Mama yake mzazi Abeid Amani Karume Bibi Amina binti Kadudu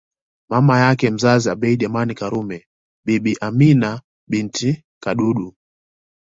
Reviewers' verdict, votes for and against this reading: accepted, 2, 0